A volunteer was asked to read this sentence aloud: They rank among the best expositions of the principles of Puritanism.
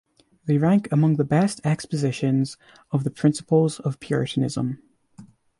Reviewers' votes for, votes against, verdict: 2, 0, accepted